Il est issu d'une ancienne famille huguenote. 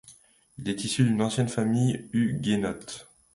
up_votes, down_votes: 1, 2